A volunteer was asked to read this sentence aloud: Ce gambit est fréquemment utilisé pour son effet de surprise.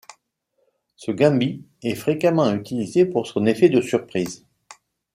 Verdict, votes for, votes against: accepted, 2, 0